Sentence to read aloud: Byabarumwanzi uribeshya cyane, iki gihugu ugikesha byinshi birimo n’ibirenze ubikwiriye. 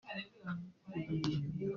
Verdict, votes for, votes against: rejected, 0, 2